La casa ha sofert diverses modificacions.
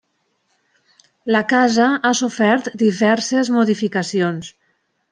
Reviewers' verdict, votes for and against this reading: accepted, 3, 0